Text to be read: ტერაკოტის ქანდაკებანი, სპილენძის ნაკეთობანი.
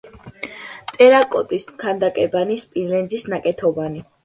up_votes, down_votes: 2, 0